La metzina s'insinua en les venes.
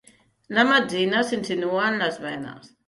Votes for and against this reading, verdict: 3, 0, accepted